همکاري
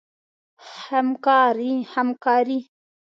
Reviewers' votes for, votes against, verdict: 2, 0, accepted